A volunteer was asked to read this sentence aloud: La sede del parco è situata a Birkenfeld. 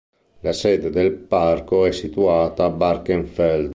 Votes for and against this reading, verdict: 1, 2, rejected